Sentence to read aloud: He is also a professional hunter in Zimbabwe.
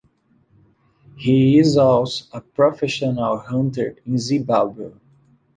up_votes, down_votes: 2, 0